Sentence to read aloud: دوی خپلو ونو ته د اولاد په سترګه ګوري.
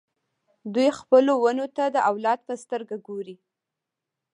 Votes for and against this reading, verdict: 0, 2, rejected